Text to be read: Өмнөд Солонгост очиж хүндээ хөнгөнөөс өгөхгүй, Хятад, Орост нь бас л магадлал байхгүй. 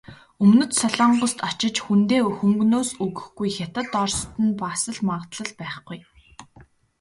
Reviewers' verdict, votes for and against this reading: accepted, 2, 0